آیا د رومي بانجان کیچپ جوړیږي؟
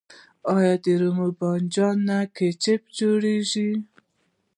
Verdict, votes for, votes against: rejected, 0, 2